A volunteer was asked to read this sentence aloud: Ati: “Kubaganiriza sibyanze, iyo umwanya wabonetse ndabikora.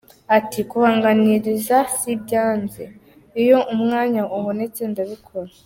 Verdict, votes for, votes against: rejected, 1, 2